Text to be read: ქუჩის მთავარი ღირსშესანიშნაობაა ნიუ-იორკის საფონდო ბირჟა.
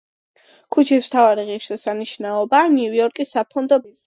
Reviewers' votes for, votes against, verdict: 1, 2, rejected